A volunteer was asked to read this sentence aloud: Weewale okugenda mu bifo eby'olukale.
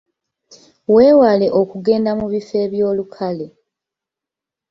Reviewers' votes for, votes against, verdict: 2, 0, accepted